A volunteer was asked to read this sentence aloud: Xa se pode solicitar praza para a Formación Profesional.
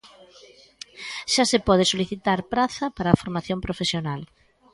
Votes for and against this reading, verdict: 1, 2, rejected